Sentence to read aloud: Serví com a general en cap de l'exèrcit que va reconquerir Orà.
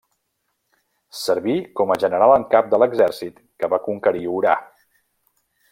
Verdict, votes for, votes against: rejected, 0, 2